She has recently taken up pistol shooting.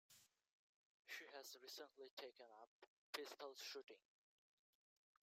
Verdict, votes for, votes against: rejected, 0, 3